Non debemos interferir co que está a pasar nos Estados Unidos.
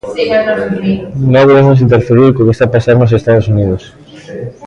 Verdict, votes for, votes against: rejected, 0, 2